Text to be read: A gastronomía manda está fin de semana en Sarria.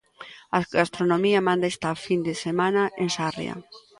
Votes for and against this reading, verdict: 0, 2, rejected